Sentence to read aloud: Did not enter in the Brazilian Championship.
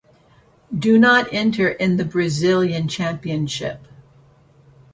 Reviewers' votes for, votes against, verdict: 0, 2, rejected